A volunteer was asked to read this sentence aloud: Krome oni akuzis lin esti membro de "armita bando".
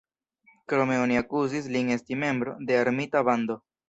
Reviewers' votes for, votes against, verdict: 2, 0, accepted